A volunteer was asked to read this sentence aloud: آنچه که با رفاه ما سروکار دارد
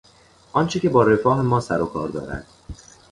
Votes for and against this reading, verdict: 2, 0, accepted